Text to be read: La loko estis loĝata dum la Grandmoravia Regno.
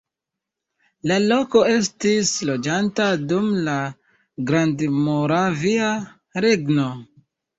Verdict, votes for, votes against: accepted, 2, 1